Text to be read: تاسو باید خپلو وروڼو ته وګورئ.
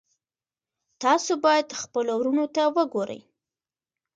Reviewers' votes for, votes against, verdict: 1, 2, rejected